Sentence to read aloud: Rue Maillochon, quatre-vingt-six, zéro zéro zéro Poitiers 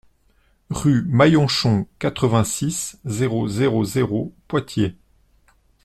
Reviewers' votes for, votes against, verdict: 1, 2, rejected